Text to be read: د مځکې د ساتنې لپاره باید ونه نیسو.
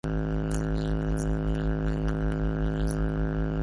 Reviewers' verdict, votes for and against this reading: rejected, 0, 2